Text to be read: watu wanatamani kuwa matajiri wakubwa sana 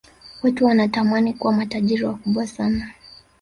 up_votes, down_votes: 2, 0